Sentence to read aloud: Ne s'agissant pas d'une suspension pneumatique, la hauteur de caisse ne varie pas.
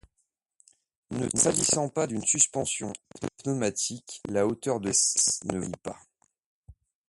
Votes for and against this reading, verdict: 0, 2, rejected